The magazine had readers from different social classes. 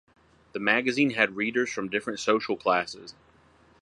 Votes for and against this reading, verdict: 4, 0, accepted